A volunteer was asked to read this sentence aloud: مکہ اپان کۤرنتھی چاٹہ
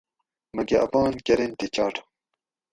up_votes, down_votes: 2, 2